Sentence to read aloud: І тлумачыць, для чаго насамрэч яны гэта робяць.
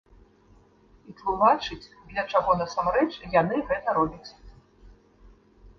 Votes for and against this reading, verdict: 0, 2, rejected